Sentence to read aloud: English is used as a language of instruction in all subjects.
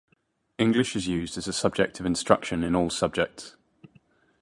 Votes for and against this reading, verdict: 1, 3, rejected